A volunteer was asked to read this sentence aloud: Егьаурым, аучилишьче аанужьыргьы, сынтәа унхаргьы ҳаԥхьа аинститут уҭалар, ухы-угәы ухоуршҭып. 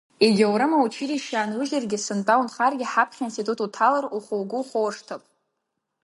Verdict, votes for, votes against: accepted, 8, 0